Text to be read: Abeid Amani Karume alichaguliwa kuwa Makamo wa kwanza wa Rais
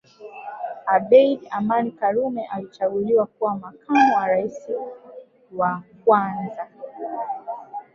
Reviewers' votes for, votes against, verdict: 1, 2, rejected